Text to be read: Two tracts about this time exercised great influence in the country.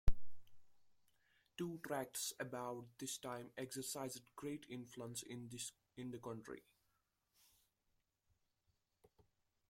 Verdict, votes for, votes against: rejected, 0, 2